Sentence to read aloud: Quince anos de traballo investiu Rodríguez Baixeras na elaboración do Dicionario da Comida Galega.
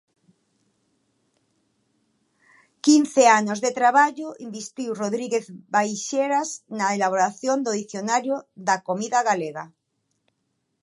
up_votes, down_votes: 2, 0